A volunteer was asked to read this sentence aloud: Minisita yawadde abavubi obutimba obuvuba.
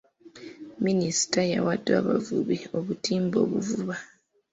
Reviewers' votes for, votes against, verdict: 2, 0, accepted